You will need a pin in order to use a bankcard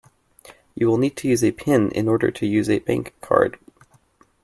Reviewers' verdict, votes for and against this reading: rejected, 1, 3